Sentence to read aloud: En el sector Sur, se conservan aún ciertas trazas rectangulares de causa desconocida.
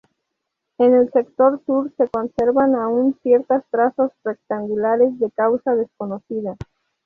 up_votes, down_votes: 2, 0